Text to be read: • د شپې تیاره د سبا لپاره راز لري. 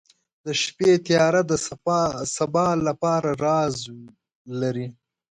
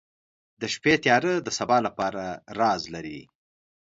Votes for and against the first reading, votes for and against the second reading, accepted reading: 1, 2, 2, 0, second